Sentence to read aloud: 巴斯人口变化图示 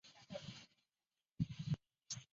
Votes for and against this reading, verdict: 1, 4, rejected